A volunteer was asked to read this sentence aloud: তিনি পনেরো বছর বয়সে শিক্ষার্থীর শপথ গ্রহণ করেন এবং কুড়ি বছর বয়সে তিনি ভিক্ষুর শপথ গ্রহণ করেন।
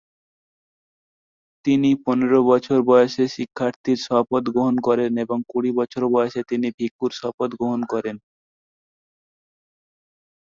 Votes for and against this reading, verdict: 4, 0, accepted